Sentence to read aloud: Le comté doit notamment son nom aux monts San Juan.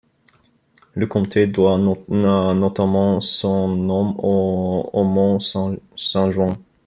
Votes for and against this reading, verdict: 0, 2, rejected